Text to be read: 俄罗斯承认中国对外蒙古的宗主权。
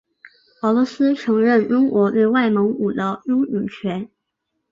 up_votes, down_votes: 0, 3